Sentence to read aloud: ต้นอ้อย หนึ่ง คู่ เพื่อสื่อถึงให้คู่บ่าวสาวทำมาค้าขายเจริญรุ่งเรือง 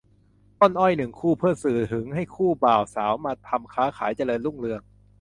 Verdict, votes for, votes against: rejected, 0, 2